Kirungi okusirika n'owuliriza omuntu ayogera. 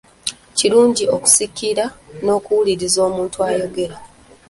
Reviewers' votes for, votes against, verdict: 1, 2, rejected